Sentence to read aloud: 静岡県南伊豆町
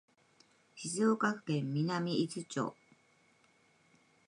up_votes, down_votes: 2, 0